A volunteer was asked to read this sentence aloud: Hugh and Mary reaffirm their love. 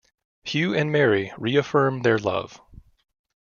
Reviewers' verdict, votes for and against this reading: accepted, 2, 0